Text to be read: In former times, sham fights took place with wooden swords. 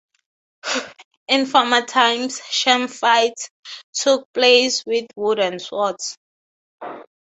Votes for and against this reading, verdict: 3, 0, accepted